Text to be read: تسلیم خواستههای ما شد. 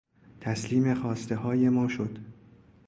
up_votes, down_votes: 2, 0